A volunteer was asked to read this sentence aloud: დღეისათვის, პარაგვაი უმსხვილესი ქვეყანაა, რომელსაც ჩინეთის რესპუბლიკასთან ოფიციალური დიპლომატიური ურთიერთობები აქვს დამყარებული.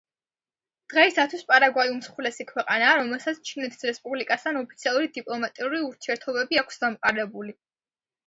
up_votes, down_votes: 2, 0